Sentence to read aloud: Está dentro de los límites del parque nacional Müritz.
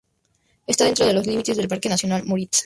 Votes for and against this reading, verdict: 2, 2, rejected